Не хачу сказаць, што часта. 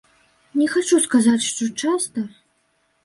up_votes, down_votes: 2, 0